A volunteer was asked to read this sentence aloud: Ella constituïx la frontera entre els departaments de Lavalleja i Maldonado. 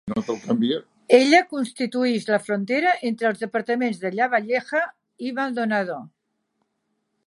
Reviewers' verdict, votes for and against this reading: rejected, 0, 2